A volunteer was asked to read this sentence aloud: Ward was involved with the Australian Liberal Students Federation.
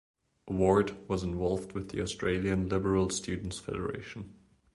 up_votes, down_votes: 2, 0